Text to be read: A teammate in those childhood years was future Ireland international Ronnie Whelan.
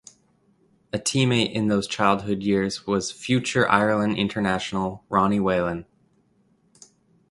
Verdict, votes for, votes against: accepted, 2, 0